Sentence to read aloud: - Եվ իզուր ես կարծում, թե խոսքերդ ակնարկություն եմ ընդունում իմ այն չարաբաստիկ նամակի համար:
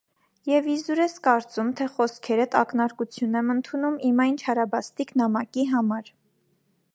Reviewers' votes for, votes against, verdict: 2, 0, accepted